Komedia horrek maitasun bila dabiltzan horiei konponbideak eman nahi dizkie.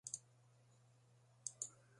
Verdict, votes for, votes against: rejected, 0, 2